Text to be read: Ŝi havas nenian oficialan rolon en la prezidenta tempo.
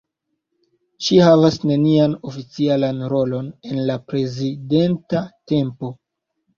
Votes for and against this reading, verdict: 1, 2, rejected